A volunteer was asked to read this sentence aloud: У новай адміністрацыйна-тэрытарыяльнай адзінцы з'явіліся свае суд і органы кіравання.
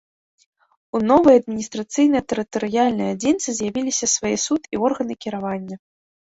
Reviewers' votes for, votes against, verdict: 2, 0, accepted